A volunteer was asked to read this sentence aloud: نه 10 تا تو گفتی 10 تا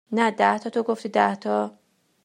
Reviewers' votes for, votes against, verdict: 0, 2, rejected